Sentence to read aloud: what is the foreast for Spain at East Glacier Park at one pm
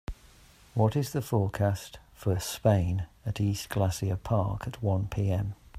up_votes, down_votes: 2, 1